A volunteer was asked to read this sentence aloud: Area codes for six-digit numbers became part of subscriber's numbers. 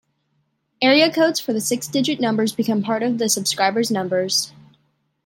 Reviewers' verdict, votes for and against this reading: rejected, 1, 2